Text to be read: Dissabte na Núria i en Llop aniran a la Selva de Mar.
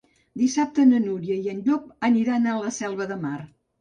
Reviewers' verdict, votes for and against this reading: accepted, 2, 0